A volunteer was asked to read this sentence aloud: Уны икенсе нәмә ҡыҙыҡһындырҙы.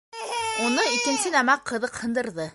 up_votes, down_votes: 0, 2